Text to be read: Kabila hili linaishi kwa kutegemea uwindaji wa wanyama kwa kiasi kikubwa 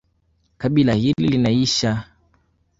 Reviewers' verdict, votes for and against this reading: rejected, 1, 2